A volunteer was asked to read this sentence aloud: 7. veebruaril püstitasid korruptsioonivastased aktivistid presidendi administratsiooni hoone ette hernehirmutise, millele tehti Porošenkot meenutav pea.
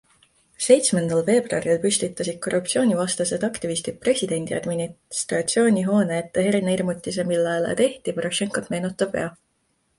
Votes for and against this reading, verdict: 0, 2, rejected